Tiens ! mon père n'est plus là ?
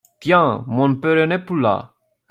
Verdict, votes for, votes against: rejected, 0, 2